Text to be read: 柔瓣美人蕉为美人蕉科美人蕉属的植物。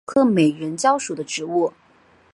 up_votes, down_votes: 2, 3